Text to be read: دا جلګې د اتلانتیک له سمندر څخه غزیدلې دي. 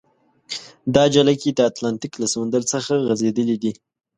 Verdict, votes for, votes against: accepted, 2, 0